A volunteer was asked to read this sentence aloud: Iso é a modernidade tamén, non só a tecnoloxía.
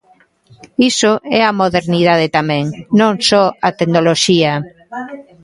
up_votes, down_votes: 1, 2